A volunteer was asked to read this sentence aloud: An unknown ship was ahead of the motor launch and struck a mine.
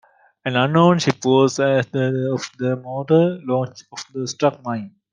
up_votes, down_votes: 0, 2